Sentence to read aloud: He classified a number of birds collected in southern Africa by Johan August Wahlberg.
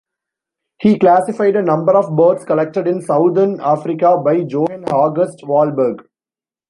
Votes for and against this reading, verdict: 0, 2, rejected